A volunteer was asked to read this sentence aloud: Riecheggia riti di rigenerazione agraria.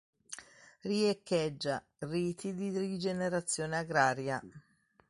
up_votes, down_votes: 2, 0